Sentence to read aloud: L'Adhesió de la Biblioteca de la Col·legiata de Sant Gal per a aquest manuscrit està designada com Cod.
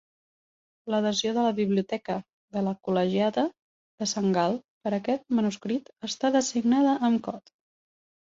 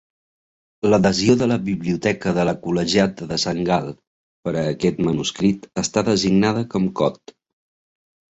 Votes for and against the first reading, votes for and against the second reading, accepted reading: 0, 2, 2, 0, second